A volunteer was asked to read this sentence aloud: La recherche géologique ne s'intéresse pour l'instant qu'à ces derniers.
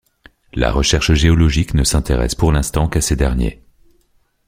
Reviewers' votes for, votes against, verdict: 2, 0, accepted